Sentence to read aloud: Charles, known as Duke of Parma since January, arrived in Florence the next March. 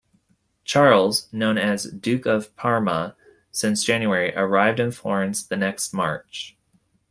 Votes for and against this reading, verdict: 2, 0, accepted